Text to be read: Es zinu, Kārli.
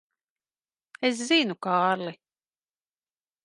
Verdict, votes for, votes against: accepted, 2, 0